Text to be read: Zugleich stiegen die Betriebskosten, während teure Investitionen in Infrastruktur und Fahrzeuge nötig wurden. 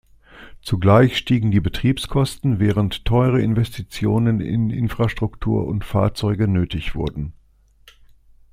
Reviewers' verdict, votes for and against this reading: accepted, 2, 0